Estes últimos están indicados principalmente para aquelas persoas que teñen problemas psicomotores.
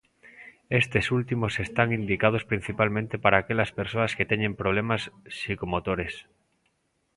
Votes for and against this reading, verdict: 2, 0, accepted